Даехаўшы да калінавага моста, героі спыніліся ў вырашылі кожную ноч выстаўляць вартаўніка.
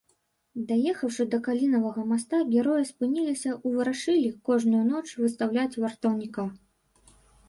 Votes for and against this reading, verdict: 0, 2, rejected